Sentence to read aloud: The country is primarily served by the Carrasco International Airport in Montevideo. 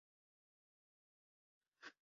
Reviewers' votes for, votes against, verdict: 0, 2, rejected